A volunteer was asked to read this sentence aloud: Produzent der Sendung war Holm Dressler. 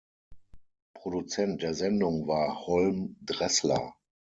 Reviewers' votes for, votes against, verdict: 6, 0, accepted